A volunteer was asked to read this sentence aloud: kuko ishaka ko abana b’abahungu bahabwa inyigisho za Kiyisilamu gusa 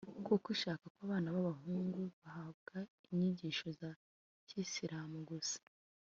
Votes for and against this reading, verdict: 2, 0, accepted